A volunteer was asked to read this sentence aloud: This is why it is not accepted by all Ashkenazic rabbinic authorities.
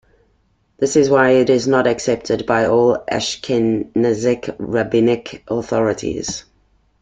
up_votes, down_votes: 2, 1